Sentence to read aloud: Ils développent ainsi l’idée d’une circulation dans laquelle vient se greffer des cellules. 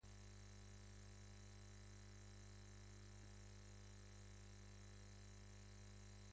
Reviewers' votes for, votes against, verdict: 1, 2, rejected